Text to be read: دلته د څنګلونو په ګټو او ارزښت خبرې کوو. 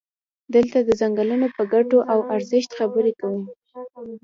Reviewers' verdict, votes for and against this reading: rejected, 1, 2